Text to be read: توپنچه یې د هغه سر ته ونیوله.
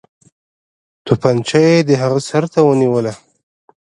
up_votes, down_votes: 1, 2